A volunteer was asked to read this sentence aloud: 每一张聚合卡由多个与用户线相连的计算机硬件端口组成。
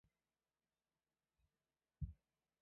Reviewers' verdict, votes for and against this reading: rejected, 0, 2